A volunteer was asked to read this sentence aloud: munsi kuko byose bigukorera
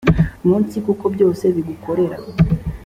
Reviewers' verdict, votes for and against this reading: accepted, 2, 0